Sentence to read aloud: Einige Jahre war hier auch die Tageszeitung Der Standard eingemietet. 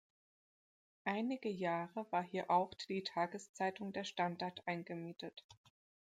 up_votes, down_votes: 2, 0